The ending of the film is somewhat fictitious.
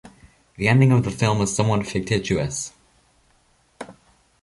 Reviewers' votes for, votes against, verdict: 0, 2, rejected